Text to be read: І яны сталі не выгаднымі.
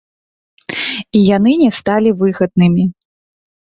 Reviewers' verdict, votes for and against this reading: rejected, 1, 2